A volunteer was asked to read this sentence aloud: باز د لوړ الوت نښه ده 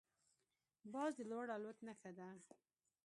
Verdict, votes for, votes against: accepted, 2, 0